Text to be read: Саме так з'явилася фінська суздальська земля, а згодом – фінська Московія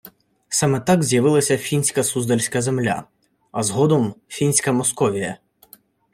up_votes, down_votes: 2, 0